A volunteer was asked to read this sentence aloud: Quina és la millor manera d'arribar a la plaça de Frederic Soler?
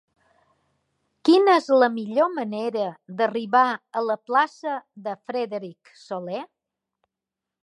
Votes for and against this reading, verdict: 1, 2, rejected